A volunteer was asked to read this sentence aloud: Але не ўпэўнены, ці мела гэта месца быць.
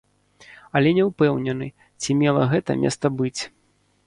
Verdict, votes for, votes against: rejected, 0, 2